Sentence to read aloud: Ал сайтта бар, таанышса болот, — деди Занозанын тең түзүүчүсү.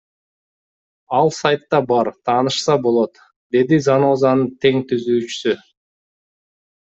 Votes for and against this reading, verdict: 2, 0, accepted